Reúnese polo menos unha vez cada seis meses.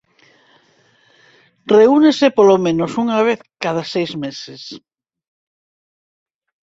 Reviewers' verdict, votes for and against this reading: accepted, 4, 0